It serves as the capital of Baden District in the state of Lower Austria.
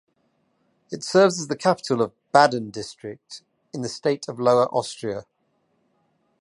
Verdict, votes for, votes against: accepted, 2, 0